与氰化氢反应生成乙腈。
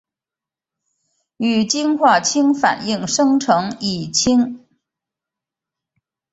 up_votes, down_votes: 2, 1